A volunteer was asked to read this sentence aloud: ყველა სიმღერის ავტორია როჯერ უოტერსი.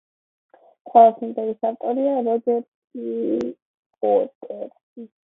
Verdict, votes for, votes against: rejected, 0, 2